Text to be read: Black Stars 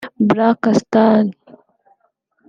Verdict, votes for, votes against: rejected, 1, 2